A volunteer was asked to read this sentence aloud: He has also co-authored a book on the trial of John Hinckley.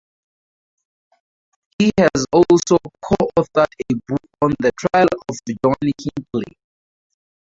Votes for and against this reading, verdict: 0, 2, rejected